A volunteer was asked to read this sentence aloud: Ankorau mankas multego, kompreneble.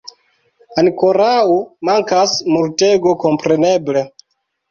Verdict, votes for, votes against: accepted, 2, 0